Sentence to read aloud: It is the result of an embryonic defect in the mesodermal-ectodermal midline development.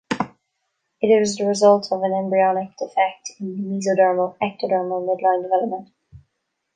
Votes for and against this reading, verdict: 1, 2, rejected